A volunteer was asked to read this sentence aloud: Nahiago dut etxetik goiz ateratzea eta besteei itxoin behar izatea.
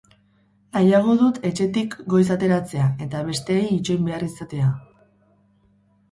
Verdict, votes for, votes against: rejected, 2, 2